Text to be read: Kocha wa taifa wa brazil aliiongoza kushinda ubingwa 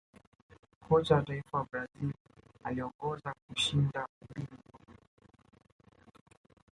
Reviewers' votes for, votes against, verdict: 1, 2, rejected